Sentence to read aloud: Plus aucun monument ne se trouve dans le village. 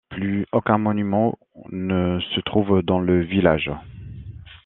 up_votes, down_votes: 2, 3